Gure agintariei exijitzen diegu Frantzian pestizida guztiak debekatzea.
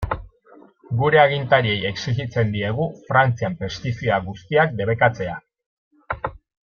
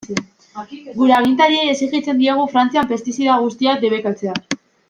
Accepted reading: first